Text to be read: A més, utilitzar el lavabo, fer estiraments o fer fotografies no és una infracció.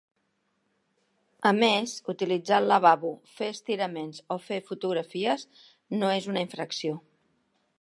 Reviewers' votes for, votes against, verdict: 2, 0, accepted